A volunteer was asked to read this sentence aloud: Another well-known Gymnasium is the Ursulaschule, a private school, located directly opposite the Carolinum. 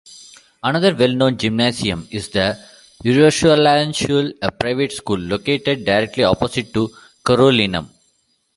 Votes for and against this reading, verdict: 1, 2, rejected